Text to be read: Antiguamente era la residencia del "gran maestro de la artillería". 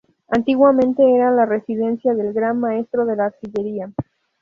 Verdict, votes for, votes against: accepted, 2, 0